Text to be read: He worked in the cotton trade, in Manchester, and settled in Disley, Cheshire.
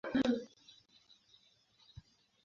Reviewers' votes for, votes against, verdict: 0, 2, rejected